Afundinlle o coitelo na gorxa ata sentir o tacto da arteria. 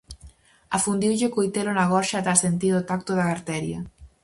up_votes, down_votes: 2, 2